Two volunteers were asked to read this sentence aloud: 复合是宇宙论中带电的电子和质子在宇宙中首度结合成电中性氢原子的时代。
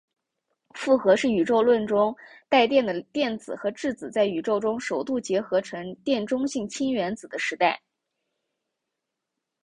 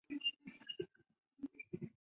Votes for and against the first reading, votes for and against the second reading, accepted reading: 4, 1, 0, 2, first